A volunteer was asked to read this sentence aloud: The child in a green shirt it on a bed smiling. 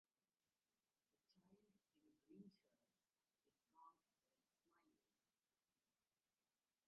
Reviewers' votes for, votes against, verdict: 0, 2, rejected